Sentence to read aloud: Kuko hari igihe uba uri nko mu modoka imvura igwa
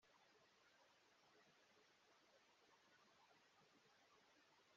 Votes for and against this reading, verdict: 0, 2, rejected